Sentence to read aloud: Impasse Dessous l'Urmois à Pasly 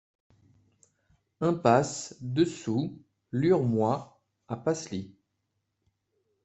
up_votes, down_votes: 2, 0